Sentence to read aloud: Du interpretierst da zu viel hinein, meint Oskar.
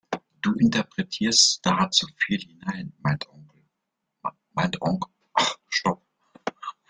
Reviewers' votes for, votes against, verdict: 0, 2, rejected